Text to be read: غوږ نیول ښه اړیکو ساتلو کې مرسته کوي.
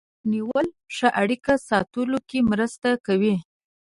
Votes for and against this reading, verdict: 1, 2, rejected